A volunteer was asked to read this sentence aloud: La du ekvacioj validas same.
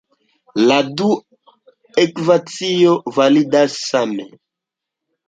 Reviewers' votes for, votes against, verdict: 1, 2, rejected